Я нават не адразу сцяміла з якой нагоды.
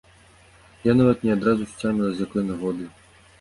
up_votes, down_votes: 2, 0